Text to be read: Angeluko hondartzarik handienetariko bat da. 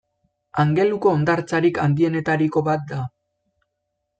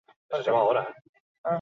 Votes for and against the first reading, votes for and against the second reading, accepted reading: 2, 0, 0, 4, first